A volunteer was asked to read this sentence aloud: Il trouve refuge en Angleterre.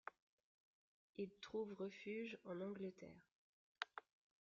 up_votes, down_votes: 2, 0